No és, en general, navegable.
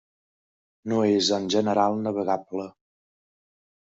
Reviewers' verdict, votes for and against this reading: accepted, 3, 0